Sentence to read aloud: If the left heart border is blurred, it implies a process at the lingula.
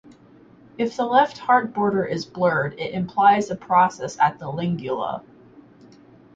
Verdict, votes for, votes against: accepted, 4, 0